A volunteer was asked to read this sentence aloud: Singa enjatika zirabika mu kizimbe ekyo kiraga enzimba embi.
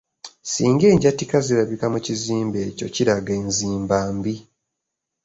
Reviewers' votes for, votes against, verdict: 3, 0, accepted